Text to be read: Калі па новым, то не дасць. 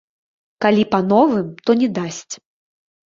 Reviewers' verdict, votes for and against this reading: accepted, 2, 0